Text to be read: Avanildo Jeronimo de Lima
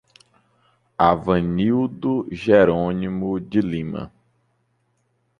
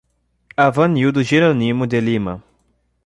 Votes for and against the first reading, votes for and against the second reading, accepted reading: 2, 0, 0, 2, first